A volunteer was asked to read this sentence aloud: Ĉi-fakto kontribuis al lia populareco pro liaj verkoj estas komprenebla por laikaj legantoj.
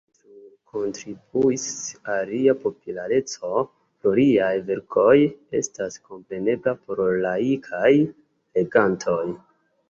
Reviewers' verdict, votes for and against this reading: accepted, 2, 0